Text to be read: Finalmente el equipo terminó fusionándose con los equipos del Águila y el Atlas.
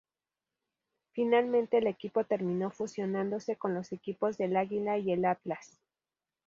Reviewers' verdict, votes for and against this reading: accepted, 2, 0